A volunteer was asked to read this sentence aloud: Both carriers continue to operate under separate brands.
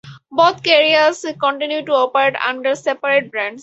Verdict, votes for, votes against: accepted, 2, 0